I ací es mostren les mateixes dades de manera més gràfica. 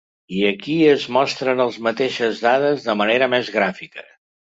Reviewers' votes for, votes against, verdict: 0, 2, rejected